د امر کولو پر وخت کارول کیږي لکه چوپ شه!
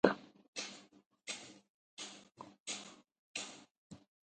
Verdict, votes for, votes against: rejected, 0, 2